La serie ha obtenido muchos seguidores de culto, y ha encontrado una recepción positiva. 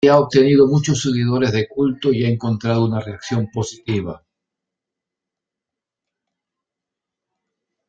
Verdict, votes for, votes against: rejected, 0, 2